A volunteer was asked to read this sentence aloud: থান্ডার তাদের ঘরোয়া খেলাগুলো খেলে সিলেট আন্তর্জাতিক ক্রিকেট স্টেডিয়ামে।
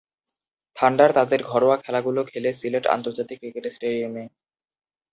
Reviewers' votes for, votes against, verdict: 2, 0, accepted